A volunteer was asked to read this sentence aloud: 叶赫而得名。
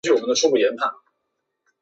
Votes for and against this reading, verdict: 1, 3, rejected